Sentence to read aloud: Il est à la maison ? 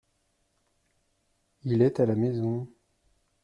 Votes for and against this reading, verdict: 2, 0, accepted